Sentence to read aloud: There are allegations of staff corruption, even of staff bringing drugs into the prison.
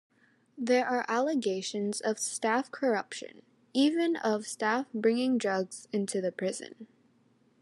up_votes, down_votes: 2, 0